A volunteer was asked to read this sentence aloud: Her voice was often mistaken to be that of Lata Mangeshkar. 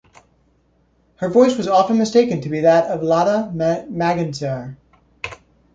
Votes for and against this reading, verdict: 1, 2, rejected